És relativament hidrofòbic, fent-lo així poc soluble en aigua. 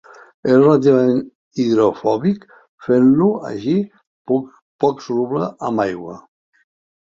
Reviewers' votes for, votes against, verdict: 1, 5, rejected